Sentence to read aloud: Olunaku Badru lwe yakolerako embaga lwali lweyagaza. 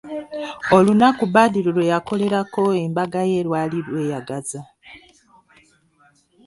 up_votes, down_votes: 1, 3